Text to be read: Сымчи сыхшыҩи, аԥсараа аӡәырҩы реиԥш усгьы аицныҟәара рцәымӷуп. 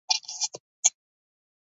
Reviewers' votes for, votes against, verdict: 0, 3, rejected